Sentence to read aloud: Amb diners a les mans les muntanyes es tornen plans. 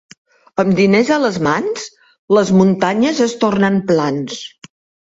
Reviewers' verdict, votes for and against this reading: accepted, 2, 0